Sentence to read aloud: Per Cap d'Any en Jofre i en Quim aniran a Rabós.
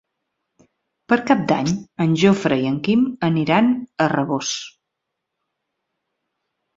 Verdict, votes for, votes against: accepted, 2, 0